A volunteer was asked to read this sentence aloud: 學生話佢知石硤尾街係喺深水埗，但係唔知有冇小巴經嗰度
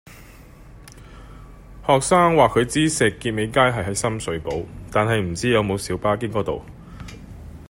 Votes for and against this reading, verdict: 2, 0, accepted